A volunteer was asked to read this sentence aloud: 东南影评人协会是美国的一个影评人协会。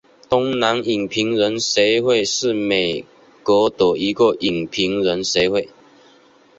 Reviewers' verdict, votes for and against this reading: rejected, 3, 4